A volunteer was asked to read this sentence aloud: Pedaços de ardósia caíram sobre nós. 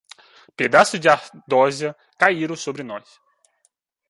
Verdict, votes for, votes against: rejected, 0, 2